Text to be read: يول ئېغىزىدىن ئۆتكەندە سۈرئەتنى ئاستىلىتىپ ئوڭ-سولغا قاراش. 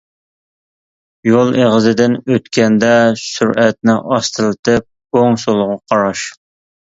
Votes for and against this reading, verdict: 2, 0, accepted